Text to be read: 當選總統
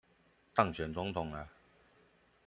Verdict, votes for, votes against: rejected, 1, 2